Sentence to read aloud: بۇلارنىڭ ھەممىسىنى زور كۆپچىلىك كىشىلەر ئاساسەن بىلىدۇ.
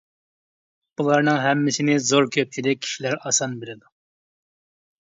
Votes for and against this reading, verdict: 0, 2, rejected